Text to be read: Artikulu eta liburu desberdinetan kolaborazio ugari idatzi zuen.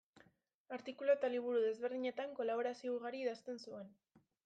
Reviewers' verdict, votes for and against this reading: rejected, 0, 2